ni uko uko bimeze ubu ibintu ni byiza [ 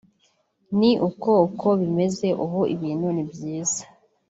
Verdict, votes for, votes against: accepted, 3, 0